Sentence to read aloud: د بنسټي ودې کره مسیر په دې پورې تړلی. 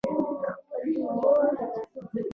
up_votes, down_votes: 1, 2